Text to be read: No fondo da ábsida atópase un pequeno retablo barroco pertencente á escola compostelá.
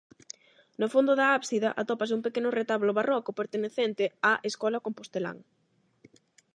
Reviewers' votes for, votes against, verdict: 0, 8, rejected